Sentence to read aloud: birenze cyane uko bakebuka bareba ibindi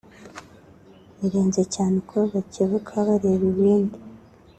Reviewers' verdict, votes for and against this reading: accepted, 2, 1